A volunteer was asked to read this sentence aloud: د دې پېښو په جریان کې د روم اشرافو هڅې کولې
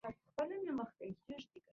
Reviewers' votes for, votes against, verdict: 0, 2, rejected